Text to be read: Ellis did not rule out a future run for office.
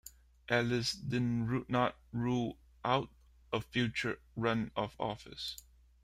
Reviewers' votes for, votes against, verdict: 0, 3, rejected